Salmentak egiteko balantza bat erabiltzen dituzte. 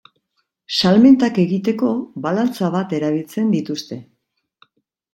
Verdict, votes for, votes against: accepted, 2, 1